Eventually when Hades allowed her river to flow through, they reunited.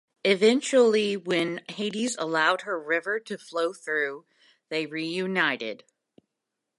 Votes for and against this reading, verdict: 2, 0, accepted